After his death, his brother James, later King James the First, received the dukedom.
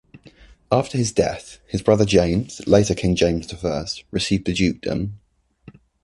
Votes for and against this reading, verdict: 2, 0, accepted